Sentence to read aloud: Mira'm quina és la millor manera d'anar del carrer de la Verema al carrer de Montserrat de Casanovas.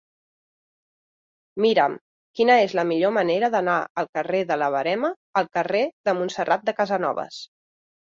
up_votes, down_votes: 0, 4